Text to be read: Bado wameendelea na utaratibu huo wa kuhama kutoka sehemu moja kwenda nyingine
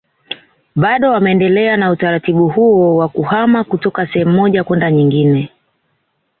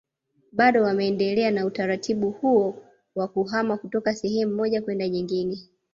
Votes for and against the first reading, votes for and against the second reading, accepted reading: 2, 0, 0, 2, first